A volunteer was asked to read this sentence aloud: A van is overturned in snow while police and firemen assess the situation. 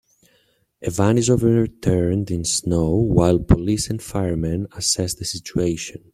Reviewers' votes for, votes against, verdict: 1, 2, rejected